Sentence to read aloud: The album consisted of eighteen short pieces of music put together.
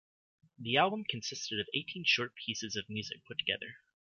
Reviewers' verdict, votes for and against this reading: accepted, 2, 0